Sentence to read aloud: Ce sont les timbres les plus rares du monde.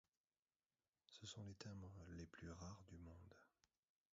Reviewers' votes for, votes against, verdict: 1, 2, rejected